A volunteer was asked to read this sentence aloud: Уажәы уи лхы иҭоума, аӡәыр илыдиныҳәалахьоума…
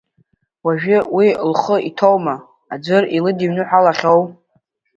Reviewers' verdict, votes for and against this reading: rejected, 0, 2